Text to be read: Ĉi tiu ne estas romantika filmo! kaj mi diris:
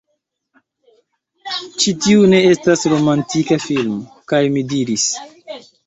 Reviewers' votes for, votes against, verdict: 1, 2, rejected